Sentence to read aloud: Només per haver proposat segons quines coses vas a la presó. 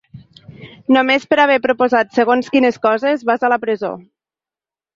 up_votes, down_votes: 3, 0